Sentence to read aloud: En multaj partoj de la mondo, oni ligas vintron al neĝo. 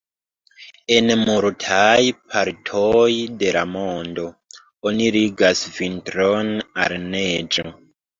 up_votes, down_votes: 0, 2